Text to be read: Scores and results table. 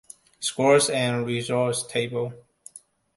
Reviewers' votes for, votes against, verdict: 2, 1, accepted